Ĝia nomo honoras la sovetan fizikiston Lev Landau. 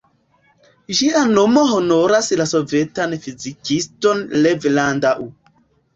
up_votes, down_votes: 1, 2